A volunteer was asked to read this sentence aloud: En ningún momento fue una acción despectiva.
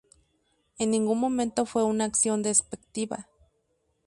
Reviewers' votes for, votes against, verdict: 2, 0, accepted